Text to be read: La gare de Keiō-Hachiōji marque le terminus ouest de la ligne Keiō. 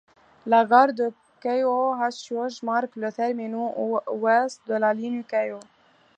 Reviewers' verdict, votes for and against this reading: rejected, 0, 2